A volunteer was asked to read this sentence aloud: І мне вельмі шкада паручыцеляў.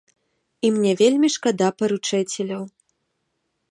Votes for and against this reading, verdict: 1, 2, rejected